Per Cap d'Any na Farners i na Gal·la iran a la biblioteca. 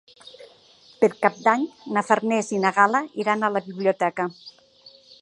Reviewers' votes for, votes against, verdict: 2, 0, accepted